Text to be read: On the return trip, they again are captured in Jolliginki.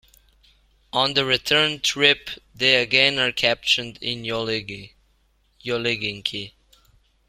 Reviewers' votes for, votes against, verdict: 0, 2, rejected